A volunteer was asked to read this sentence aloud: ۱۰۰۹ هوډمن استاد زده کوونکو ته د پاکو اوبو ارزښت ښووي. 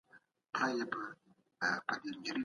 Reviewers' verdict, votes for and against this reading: rejected, 0, 2